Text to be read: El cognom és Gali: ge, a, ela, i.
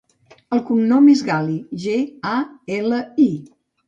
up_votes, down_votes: 2, 0